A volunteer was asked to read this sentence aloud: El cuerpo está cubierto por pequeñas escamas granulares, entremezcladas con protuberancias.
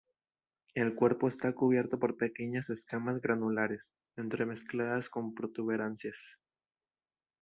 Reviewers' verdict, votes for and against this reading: accepted, 2, 0